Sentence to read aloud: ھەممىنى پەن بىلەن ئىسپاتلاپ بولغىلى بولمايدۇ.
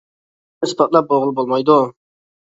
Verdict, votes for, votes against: rejected, 0, 2